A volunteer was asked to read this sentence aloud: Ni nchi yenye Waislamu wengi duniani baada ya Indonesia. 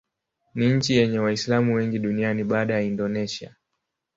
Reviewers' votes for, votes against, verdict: 2, 0, accepted